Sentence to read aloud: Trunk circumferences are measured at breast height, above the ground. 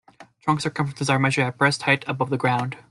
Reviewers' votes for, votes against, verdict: 1, 2, rejected